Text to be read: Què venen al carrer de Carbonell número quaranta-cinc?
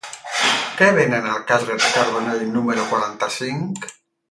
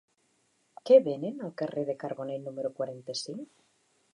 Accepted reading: second